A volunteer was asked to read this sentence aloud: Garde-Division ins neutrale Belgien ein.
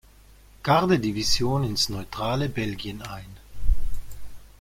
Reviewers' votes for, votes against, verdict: 2, 0, accepted